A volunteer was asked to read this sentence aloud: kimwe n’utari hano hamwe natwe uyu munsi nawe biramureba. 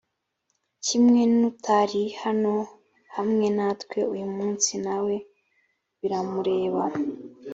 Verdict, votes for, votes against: accepted, 2, 0